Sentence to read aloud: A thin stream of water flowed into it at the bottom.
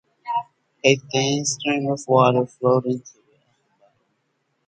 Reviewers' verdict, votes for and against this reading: rejected, 0, 4